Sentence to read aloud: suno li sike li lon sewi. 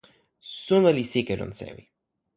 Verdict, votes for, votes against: rejected, 1, 2